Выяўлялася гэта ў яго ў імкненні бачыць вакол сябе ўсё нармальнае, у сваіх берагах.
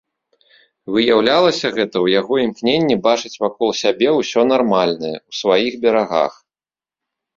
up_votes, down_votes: 2, 0